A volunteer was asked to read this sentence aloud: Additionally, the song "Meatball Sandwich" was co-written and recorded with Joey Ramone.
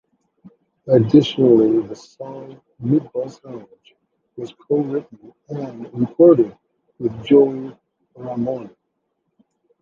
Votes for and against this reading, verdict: 0, 2, rejected